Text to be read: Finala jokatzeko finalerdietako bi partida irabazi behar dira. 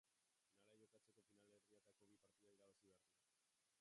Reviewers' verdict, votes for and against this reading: rejected, 0, 3